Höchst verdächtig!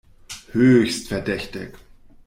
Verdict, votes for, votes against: accepted, 2, 0